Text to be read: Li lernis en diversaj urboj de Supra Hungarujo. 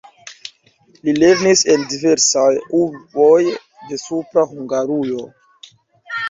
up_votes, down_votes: 0, 2